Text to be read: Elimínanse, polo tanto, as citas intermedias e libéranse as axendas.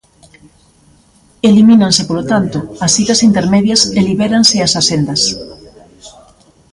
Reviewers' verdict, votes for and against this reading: accepted, 2, 0